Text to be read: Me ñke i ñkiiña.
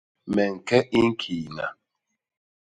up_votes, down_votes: 2, 0